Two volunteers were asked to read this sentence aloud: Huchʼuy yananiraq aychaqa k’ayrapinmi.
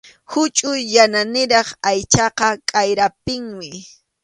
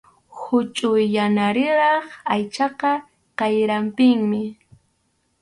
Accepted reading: first